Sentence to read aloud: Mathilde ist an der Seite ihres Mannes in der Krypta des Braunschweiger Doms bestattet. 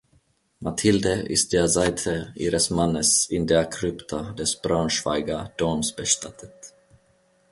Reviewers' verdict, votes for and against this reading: rejected, 0, 2